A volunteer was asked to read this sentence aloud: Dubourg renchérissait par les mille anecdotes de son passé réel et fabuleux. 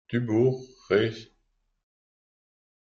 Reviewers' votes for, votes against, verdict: 0, 2, rejected